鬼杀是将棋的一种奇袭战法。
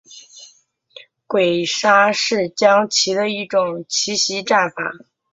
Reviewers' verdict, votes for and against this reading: accepted, 2, 0